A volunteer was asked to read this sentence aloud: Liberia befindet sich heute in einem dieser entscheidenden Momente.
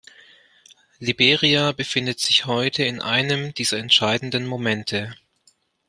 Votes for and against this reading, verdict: 2, 0, accepted